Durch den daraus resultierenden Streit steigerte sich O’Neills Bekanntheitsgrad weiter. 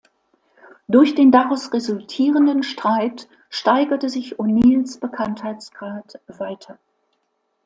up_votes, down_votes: 2, 0